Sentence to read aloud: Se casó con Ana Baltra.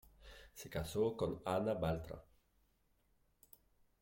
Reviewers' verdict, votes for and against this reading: rejected, 0, 2